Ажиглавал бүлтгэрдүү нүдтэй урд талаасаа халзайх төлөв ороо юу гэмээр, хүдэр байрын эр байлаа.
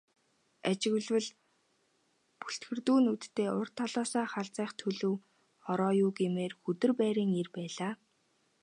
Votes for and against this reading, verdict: 4, 0, accepted